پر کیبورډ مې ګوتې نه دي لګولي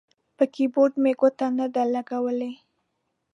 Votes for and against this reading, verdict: 1, 2, rejected